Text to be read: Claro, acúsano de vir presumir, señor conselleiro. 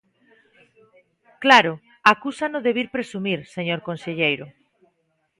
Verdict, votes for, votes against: rejected, 0, 2